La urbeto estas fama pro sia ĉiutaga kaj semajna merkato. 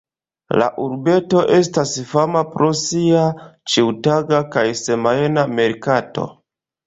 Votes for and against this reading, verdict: 2, 1, accepted